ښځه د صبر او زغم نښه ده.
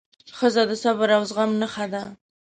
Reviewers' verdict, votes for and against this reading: accepted, 2, 0